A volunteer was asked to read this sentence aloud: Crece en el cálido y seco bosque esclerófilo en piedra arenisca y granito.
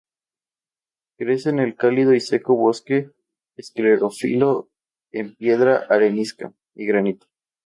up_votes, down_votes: 0, 2